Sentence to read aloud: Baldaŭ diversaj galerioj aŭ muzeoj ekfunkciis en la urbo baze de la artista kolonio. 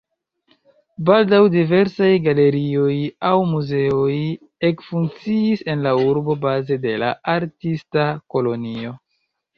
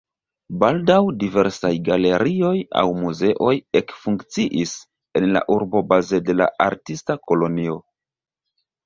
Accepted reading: second